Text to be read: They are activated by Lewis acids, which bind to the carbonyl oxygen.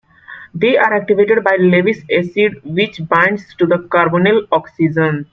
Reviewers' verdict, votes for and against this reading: accepted, 2, 1